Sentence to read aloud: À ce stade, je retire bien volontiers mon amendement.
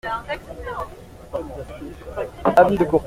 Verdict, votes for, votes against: rejected, 0, 2